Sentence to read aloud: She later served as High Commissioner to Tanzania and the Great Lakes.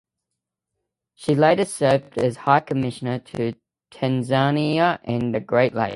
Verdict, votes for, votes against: rejected, 0, 2